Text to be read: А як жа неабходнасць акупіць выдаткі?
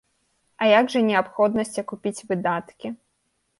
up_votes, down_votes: 2, 0